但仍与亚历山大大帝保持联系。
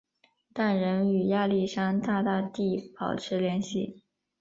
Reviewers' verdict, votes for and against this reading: accepted, 2, 0